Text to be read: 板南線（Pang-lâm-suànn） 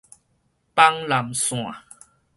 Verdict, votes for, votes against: rejected, 2, 4